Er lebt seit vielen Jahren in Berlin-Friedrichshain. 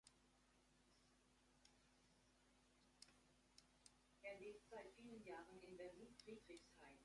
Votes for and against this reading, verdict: 1, 2, rejected